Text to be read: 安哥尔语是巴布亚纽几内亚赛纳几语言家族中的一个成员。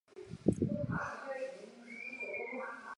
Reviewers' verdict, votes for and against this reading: rejected, 1, 2